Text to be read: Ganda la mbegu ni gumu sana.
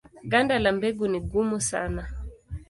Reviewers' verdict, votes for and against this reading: accepted, 2, 0